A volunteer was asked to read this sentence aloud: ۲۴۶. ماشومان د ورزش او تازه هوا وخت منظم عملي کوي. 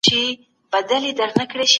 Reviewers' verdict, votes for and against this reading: rejected, 0, 2